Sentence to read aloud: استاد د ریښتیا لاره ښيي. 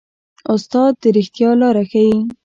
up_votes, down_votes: 1, 2